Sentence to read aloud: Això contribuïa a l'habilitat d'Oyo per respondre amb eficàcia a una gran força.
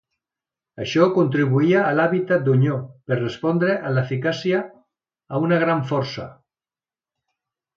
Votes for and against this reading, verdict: 0, 2, rejected